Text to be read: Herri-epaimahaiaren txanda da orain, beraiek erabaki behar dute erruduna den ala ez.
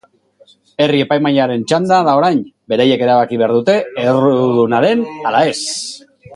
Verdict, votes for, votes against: rejected, 2, 3